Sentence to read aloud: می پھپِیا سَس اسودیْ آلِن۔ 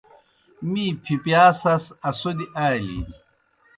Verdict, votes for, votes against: accepted, 2, 0